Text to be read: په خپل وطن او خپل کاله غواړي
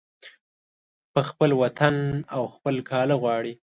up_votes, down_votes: 2, 0